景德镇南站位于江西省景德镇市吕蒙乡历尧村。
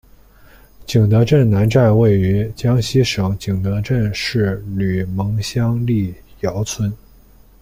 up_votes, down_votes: 1, 2